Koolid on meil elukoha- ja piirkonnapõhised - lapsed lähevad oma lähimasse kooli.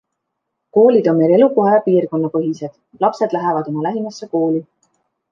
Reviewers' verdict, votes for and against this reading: accepted, 2, 0